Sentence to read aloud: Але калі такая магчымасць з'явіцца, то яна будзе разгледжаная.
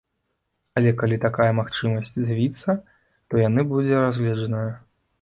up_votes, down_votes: 0, 2